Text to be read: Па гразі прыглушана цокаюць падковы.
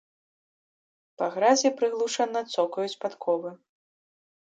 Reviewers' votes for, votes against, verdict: 2, 0, accepted